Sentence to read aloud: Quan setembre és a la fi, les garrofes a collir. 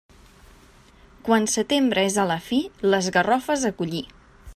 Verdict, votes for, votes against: accepted, 2, 0